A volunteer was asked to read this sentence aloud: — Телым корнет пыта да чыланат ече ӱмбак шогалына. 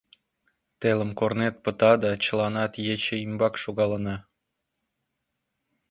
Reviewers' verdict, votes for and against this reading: accepted, 2, 0